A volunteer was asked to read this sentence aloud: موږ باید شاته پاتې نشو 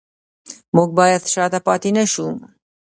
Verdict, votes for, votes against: rejected, 1, 2